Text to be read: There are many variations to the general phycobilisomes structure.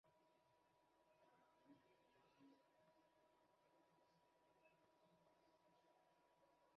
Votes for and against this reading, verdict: 0, 2, rejected